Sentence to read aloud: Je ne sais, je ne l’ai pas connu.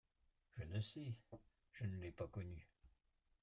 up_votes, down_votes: 0, 2